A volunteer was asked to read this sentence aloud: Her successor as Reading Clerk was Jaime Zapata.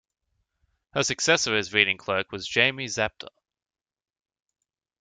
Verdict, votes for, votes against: rejected, 0, 2